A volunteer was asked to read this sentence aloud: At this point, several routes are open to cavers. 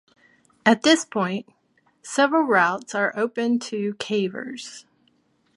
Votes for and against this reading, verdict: 2, 0, accepted